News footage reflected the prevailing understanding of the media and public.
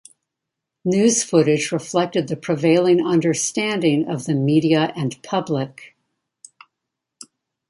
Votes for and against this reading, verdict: 2, 0, accepted